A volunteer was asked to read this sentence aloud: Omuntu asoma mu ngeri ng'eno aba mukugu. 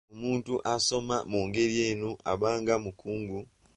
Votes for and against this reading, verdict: 0, 2, rejected